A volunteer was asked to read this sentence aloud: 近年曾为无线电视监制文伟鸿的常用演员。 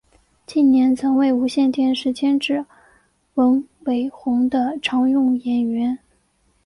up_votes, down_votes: 2, 1